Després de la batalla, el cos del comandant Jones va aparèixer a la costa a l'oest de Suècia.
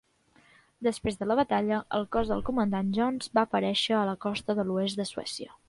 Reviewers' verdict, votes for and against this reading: rejected, 0, 2